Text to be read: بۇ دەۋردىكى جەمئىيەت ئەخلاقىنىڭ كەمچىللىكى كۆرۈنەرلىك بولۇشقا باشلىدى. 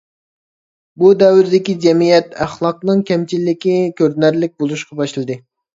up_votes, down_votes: 1, 2